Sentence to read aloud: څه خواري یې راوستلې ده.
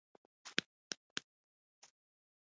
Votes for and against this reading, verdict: 1, 2, rejected